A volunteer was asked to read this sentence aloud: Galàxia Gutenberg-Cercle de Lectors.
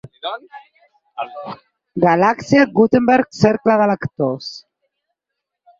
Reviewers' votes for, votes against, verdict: 4, 6, rejected